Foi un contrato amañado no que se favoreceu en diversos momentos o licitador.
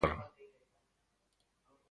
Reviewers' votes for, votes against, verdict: 0, 2, rejected